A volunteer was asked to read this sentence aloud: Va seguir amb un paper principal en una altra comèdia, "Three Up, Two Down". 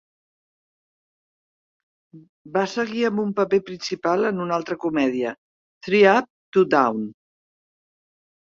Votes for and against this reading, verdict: 2, 0, accepted